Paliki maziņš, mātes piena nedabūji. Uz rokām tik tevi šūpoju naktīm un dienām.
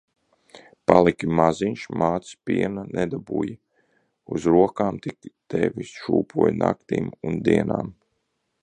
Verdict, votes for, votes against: accepted, 2, 0